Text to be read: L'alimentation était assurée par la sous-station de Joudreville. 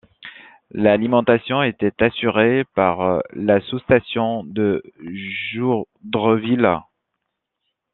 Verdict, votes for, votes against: rejected, 1, 2